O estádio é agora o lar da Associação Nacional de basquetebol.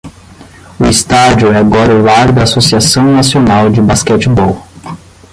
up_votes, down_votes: 10, 0